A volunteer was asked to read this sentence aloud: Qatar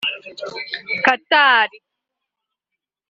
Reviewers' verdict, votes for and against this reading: rejected, 2, 3